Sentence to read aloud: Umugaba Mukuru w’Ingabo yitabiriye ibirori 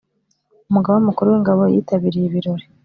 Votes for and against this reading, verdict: 2, 0, accepted